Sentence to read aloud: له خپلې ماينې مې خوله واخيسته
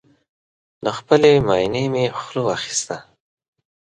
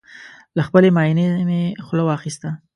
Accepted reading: first